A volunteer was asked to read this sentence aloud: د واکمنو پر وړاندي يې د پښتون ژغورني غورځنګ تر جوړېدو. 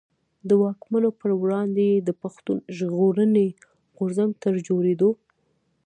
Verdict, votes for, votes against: rejected, 0, 2